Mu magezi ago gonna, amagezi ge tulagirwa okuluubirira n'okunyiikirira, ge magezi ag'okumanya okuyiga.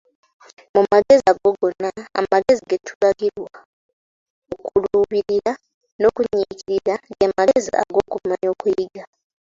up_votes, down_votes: 0, 2